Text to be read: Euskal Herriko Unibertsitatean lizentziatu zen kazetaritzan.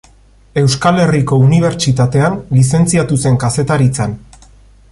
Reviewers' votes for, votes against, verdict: 2, 0, accepted